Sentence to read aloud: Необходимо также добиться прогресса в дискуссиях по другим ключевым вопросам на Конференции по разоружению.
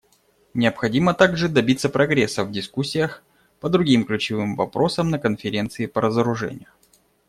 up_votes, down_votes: 2, 0